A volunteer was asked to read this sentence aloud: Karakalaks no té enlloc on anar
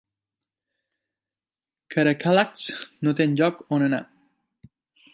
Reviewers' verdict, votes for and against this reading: accepted, 2, 0